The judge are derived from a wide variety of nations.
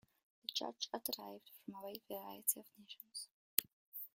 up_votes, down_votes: 2, 1